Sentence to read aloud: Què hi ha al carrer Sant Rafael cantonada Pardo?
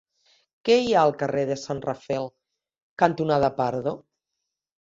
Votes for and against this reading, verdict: 1, 2, rejected